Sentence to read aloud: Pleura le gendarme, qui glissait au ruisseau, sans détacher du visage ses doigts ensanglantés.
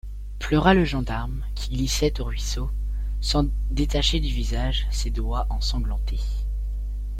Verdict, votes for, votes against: accepted, 2, 0